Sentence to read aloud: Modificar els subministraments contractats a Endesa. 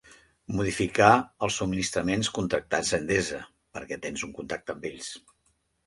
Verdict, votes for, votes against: rejected, 0, 2